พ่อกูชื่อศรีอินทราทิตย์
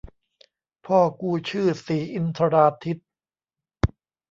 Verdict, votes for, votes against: rejected, 0, 2